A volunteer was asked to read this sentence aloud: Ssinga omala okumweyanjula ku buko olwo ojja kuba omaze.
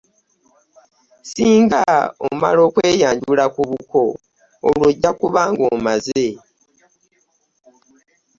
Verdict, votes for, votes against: rejected, 0, 2